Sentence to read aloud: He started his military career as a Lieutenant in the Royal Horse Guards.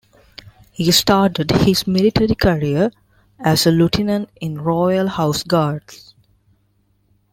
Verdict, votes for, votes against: rejected, 0, 2